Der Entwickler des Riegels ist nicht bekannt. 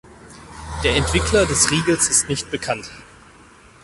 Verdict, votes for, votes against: accepted, 4, 0